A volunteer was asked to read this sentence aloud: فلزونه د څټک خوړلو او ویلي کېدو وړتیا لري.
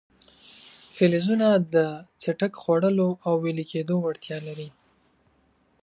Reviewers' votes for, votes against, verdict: 2, 0, accepted